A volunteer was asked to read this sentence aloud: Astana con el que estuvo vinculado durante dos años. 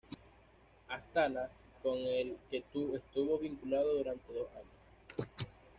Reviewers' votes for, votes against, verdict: 1, 2, rejected